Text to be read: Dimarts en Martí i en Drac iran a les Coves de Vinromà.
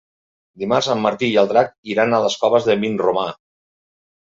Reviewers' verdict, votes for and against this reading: rejected, 1, 2